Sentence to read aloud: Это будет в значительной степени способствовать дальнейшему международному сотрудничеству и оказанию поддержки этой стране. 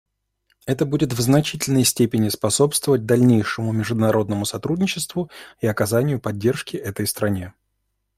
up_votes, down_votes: 2, 0